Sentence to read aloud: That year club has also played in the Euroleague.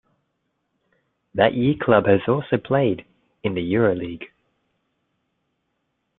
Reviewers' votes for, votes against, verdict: 2, 0, accepted